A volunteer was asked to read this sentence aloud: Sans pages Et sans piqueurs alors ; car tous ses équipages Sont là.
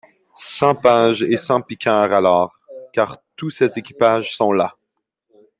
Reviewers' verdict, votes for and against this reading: accepted, 2, 0